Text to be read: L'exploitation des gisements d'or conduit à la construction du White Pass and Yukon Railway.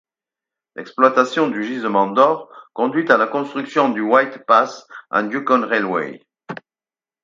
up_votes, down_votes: 4, 2